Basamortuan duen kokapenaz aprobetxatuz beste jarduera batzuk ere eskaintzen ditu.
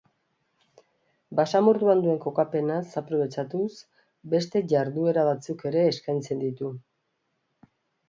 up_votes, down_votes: 3, 0